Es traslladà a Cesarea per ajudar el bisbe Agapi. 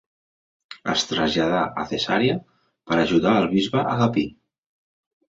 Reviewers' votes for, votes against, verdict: 3, 0, accepted